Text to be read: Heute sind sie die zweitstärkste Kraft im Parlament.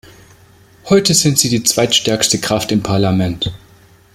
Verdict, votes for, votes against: accepted, 2, 0